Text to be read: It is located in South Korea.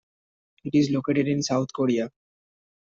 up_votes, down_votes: 2, 0